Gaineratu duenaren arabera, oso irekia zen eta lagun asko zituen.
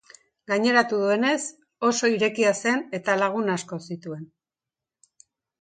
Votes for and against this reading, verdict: 0, 2, rejected